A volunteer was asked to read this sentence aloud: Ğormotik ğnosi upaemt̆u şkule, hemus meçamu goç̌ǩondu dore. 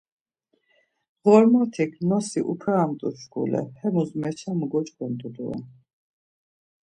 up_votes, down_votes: 2, 0